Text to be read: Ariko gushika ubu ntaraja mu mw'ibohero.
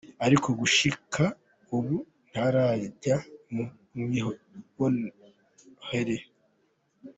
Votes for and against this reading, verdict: 0, 2, rejected